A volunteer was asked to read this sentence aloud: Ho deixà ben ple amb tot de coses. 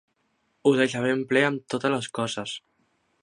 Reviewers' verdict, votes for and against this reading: rejected, 0, 2